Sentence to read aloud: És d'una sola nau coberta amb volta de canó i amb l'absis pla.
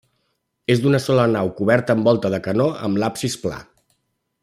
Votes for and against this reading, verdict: 0, 2, rejected